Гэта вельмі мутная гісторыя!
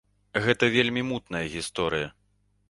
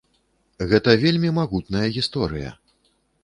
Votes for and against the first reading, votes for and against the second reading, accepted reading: 2, 0, 1, 2, first